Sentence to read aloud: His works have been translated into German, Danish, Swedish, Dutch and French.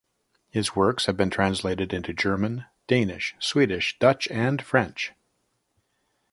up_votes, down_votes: 0, 2